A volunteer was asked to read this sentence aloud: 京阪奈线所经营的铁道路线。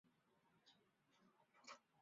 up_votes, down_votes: 2, 7